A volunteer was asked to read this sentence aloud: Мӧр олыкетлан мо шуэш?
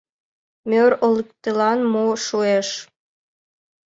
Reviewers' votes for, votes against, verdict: 0, 2, rejected